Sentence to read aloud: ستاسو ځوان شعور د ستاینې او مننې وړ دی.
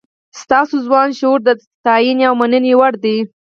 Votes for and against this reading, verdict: 2, 4, rejected